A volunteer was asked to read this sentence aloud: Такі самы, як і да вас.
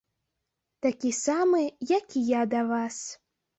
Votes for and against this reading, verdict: 0, 2, rejected